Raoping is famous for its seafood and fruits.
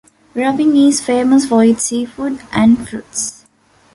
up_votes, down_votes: 2, 1